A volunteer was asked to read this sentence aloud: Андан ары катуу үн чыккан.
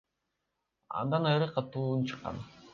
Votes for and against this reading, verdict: 1, 2, rejected